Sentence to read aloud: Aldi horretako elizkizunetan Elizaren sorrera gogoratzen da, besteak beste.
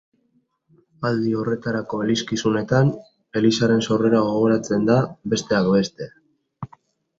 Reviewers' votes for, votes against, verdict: 0, 2, rejected